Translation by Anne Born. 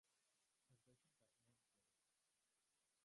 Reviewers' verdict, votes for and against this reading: rejected, 0, 2